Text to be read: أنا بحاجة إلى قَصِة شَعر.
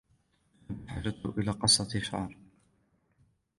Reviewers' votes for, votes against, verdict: 1, 2, rejected